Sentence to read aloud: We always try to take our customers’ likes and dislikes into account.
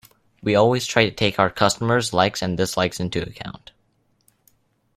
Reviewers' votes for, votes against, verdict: 2, 0, accepted